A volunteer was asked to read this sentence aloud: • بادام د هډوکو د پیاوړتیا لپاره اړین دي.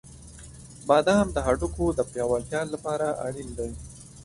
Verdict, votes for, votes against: rejected, 1, 2